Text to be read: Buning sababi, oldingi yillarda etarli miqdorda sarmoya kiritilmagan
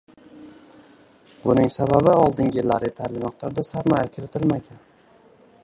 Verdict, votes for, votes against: accepted, 2, 1